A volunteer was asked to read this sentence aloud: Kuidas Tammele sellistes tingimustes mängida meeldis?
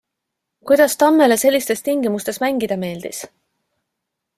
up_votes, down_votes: 2, 0